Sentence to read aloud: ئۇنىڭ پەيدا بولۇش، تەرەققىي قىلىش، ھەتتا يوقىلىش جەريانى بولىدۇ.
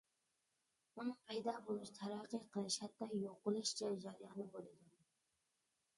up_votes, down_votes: 1, 2